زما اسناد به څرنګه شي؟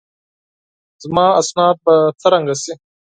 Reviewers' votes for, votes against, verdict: 4, 0, accepted